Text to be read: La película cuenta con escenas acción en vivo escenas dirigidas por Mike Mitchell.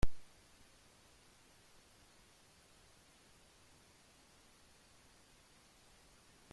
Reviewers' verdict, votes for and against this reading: rejected, 0, 2